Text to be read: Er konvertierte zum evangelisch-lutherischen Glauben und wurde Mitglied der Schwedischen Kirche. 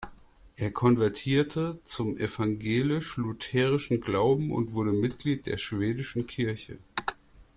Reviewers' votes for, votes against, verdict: 2, 0, accepted